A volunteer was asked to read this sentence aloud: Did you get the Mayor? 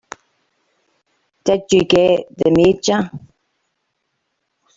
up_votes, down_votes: 0, 3